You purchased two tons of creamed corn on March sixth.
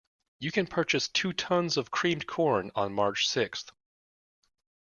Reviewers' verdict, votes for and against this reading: rejected, 0, 2